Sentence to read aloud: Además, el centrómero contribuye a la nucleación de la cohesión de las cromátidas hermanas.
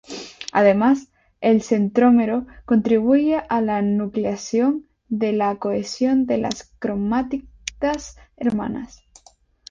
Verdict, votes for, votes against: rejected, 0, 2